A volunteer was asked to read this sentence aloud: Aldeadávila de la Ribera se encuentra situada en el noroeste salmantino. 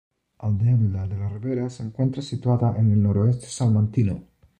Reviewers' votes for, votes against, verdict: 0, 2, rejected